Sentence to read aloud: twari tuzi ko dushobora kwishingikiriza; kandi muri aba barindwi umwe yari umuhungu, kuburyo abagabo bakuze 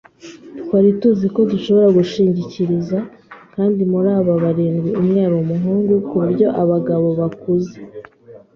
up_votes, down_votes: 2, 1